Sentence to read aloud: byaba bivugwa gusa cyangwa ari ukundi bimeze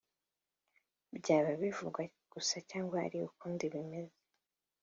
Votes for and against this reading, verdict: 2, 0, accepted